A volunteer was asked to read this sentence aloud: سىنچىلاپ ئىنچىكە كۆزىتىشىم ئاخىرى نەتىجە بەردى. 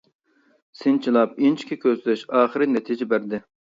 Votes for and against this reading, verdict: 0, 2, rejected